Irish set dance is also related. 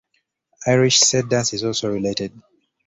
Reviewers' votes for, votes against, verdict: 2, 0, accepted